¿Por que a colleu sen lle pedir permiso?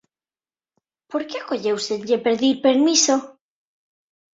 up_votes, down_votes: 2, 0